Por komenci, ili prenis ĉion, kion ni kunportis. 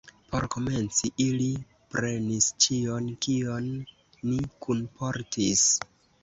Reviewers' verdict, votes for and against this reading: rejected, 1, 2